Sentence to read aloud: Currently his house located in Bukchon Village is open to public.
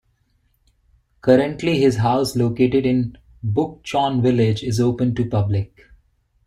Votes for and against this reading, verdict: 2, 1, accepted